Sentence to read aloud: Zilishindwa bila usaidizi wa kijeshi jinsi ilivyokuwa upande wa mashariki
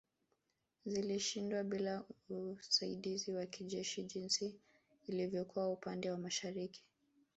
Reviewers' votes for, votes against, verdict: 2, 0, accepted